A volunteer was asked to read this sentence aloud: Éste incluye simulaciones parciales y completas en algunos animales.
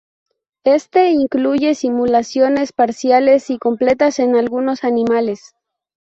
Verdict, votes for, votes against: accepted, 4, 0